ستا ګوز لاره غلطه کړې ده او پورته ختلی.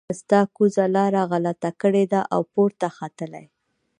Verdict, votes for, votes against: rejected, 0, 2